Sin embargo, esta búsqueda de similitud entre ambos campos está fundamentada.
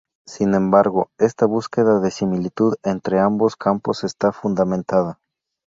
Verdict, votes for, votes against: rejected, 0, 2